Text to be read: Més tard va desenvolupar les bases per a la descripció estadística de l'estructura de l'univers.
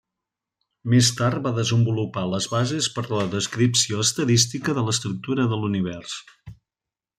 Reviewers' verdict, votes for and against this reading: accepted, 3, 0